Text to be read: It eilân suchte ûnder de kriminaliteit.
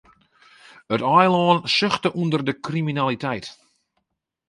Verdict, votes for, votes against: accepted, 2, 0